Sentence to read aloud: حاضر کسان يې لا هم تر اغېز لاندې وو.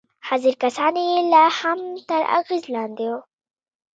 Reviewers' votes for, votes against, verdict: 2, 0, accepted